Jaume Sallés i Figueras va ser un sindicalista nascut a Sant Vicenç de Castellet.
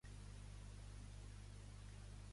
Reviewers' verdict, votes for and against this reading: rejected, 1, 2